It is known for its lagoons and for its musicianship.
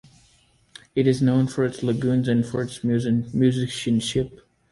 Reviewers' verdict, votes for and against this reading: rejected, 0, 2